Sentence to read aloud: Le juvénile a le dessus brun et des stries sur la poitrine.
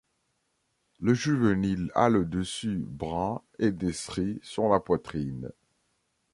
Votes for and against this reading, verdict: 1, 2, rejected